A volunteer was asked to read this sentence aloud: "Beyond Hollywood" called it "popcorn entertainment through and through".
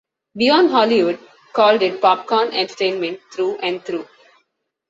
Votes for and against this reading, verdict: 2, 0, accepted